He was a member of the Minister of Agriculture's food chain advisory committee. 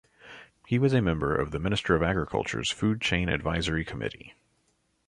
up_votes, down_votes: 2, 0